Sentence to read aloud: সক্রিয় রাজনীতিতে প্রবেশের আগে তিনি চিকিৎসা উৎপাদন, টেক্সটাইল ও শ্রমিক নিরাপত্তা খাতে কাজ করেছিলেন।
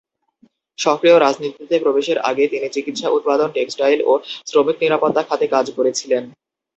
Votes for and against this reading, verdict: 2, 0, accepted